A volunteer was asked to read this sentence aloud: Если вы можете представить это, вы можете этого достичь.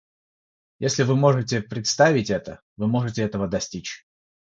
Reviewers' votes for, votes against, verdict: 6, 0, accepted